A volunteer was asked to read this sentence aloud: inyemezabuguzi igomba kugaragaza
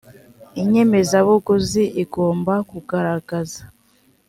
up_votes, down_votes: 2, 0